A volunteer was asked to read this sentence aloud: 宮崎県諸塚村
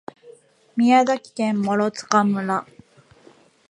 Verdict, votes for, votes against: accepted, 2, 1